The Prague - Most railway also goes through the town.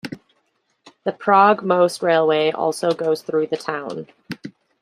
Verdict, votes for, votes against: accepted, 2, 0